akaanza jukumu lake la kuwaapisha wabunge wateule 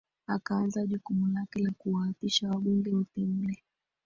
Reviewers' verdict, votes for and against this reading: rejected, 1, 2